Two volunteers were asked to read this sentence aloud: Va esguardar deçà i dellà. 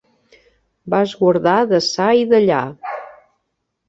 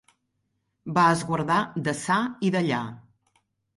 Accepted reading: second